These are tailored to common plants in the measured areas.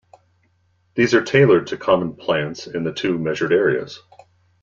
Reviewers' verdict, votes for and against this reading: rejected, 1, 2